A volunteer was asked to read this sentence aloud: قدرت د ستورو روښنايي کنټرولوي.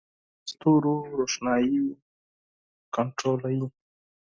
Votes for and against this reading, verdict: 0, 4, rejected